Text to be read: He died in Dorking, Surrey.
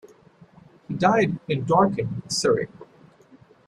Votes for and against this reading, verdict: 0, 2, rejected